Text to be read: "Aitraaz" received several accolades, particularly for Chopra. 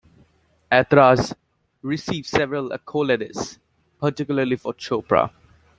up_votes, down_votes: 2, 0